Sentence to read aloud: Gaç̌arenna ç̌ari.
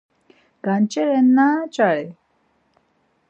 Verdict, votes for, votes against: rejected, 0, 4